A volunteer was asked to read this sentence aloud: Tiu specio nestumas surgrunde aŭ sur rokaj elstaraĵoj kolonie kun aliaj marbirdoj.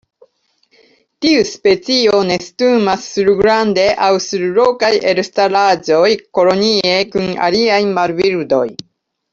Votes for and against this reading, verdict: 1, 2, rejected